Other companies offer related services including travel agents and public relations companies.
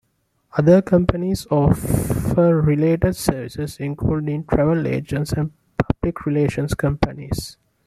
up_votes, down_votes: 2, 1